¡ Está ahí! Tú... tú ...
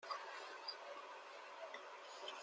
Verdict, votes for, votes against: rejected, 0, 2